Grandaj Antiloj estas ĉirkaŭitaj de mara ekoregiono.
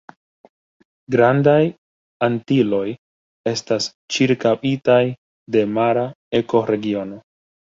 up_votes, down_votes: 2, 0